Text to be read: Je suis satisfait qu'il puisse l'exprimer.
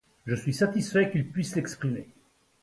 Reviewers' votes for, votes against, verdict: 2, 0, accepted